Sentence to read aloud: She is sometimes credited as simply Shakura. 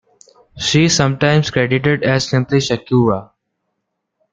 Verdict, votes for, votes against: accepted, 2, 0